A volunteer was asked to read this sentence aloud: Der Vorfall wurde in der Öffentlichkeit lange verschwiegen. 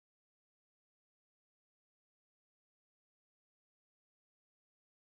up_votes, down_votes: 0, 2